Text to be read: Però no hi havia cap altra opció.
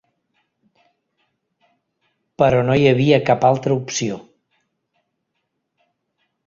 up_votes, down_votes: 3, 0